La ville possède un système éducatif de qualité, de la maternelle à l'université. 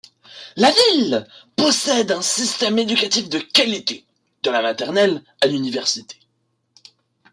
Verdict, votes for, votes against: rejected, 1, 2